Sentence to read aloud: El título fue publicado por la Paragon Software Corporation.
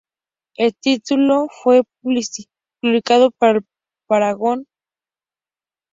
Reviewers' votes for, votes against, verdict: 2, 0, accepted